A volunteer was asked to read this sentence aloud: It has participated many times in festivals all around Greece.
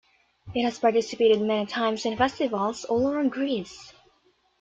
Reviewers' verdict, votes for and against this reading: accepted, 2, 0